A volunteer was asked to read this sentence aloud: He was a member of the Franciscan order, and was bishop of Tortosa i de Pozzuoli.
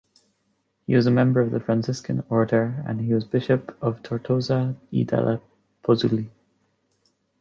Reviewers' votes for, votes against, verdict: 1, 2, rejected